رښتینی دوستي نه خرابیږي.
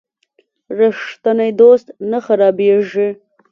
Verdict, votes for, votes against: rejected, 1, 2